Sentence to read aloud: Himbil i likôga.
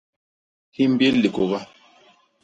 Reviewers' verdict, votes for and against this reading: rejected, 0, 2